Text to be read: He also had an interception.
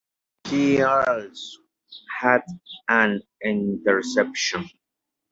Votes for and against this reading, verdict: 1, 2, rejected